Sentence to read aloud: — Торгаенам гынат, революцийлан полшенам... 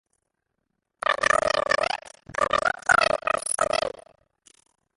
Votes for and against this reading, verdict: 0, 2, rejected